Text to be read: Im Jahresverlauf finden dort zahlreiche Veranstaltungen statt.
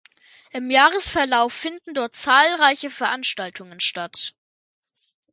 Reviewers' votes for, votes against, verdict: 2, 0, accepted